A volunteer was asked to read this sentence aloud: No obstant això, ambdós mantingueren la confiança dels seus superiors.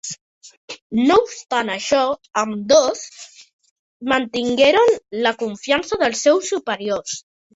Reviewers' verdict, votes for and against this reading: rejected, 1, 3